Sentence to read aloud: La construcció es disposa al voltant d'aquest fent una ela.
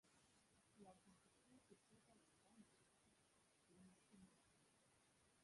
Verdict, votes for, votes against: rejected, 1, 2